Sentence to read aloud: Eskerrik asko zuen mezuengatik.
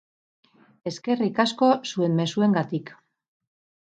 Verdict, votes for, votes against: accepted, 4, 0